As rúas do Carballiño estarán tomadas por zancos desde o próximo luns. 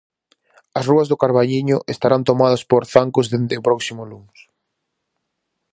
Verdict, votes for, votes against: rejected, 0, 4